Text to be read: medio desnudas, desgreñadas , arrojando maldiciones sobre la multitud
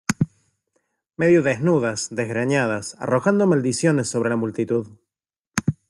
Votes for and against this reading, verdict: 2, 0, accepted